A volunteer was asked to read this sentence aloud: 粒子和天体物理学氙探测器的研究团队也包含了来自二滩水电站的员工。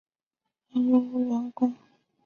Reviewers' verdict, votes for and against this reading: rejected, 0, 2